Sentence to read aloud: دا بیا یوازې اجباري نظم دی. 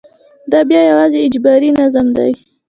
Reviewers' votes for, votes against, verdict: 2, 0, accepted